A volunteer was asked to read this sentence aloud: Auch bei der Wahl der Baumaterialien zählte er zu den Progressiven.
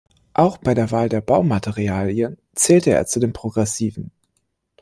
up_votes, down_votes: 2, 1